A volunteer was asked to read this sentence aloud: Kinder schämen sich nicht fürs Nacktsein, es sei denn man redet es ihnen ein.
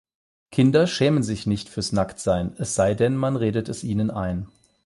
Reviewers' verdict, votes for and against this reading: accepted, 8, 0